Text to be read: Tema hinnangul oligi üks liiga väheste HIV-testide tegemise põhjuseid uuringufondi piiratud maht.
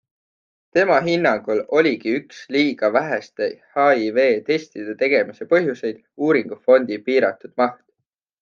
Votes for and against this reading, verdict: 3, 0, accepted